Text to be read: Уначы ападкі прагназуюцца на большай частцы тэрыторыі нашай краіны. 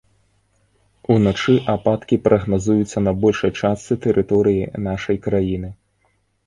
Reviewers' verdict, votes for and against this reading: accepted, 2, 0